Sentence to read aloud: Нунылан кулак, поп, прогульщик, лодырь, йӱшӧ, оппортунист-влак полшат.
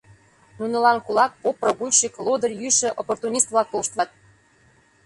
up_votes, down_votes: 1, 2